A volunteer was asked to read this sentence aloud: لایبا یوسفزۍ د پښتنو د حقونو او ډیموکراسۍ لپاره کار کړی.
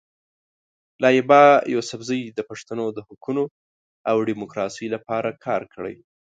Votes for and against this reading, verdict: 2, 0, accepted